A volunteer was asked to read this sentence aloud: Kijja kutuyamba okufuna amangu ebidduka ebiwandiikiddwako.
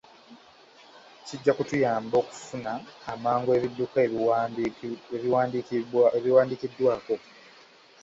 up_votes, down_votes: 0, 2